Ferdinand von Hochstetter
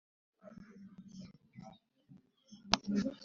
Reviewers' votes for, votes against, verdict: 2, 3, rejected